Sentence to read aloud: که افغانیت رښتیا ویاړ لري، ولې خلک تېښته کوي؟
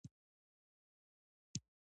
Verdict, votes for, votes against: rejected, 1, 2